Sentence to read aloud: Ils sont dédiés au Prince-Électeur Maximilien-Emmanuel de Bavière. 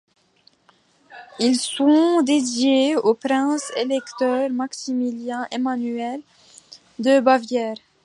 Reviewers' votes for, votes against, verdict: 2, 0, accepted